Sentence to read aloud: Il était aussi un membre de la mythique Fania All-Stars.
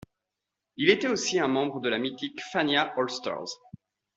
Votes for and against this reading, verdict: 2, 0, accepted